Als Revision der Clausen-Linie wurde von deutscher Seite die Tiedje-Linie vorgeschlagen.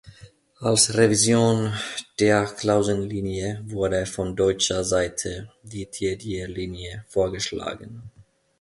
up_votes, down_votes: 2, 0